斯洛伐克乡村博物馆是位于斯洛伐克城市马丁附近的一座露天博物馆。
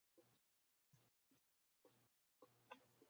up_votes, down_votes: 0, 2